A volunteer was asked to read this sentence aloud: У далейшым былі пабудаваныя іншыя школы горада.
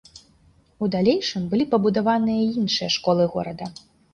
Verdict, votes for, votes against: accepted, 2, 0